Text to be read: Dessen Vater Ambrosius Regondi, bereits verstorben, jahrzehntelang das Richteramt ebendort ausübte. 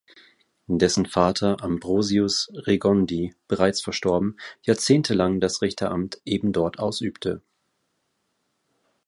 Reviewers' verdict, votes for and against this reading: accepted, 2, 0